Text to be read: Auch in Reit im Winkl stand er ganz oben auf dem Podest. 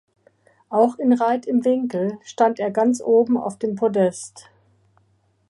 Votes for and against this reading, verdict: 3, 0, accepted